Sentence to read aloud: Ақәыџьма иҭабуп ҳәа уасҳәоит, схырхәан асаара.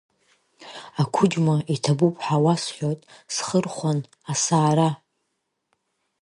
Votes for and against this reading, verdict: 1, 2, rejected